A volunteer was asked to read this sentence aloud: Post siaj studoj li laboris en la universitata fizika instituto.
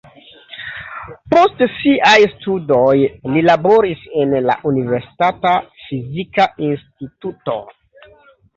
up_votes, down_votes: 2, 1